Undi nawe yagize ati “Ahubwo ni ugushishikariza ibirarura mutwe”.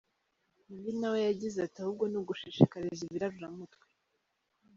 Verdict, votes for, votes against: rejected, 2, 3